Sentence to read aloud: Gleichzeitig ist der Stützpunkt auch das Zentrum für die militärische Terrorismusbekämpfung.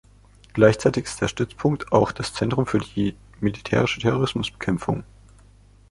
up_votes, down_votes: 2, 0